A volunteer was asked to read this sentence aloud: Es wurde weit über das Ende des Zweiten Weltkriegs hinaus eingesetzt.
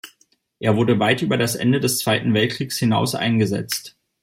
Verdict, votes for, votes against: rejected, 1, 2